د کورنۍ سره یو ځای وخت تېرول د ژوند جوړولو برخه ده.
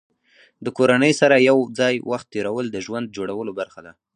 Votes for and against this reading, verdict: 2, 0, accepted